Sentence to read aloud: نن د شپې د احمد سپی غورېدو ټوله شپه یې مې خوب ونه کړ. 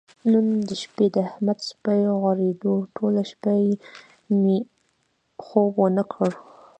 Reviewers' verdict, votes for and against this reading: rejected, 0, 2